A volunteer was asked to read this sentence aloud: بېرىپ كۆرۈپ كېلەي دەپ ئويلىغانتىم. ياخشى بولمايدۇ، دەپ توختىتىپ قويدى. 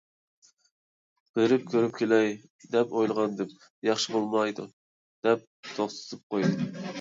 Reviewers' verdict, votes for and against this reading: rejected, 1, 2